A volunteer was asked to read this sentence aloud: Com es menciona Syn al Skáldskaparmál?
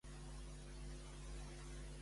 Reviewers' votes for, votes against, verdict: 0, 2, rejected